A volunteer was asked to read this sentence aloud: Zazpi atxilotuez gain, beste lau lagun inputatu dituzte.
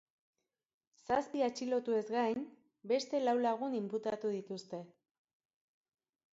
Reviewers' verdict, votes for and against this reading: rejected, 0, 2